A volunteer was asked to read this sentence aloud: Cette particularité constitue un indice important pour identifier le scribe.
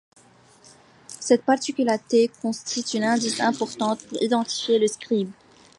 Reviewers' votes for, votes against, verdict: 2, 0, accepted